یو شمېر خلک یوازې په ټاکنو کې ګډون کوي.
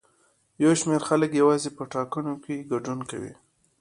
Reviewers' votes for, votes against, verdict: 0, 2, rejected